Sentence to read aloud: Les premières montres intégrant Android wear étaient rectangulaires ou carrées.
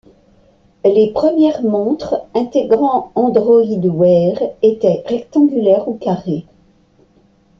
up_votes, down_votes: 2, 0